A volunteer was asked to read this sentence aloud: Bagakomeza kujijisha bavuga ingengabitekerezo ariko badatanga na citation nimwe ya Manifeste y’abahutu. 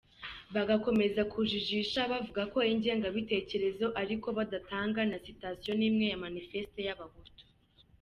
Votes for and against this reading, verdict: 1, 2, rejected